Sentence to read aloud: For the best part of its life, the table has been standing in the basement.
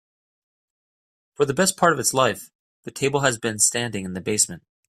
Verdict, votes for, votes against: accepted, 2, 0